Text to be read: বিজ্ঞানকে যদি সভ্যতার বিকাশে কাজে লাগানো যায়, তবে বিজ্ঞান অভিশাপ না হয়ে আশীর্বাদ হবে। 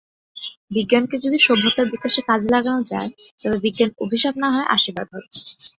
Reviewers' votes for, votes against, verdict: 9, 0, accepted